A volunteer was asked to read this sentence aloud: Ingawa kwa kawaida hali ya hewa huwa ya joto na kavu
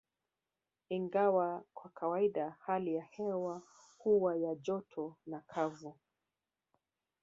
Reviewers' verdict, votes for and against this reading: accepted, 3, 0